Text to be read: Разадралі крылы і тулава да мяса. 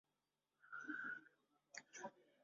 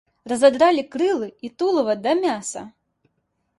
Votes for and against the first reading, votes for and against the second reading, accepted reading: 0, 2, 2, 0, second